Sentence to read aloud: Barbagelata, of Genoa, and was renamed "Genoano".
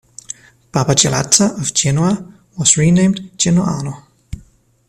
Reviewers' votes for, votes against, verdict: 1, 2, rejected